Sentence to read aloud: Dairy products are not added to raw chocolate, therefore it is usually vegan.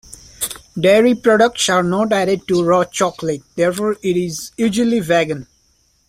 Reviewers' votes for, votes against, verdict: 1, 2, rejected